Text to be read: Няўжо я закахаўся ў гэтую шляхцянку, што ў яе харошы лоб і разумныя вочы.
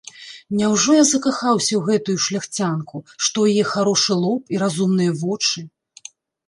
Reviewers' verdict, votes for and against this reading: rejected, 0, 2